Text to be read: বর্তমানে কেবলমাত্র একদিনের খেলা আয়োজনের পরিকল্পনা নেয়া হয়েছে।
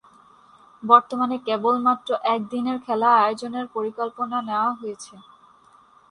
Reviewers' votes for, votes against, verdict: 2, 0, accepted